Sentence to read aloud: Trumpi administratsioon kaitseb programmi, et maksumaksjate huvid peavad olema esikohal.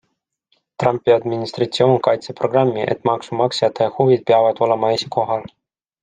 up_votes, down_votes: 2, 0